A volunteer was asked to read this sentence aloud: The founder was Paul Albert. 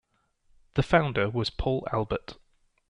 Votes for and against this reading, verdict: 2, 0, accepted